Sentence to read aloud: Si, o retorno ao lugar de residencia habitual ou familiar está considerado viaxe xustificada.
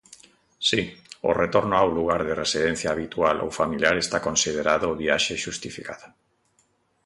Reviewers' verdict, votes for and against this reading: accepted, 2, 0